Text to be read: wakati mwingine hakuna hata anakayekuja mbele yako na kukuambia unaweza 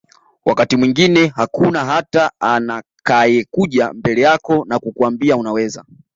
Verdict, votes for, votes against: accepted, 2, 0